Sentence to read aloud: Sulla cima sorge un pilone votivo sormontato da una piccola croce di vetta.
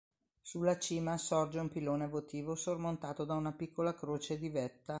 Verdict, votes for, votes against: accepted, 2, 0